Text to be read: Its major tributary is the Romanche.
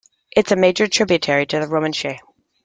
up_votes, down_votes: 0, 2